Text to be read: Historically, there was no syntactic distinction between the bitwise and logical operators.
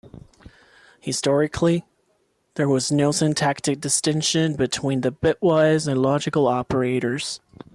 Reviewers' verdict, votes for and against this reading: accepted, 2, 0